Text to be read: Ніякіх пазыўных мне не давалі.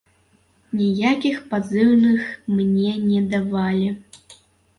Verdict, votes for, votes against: rejected, 1, 2